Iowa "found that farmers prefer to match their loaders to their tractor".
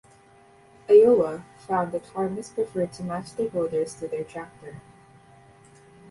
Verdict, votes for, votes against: rejected, 1, 2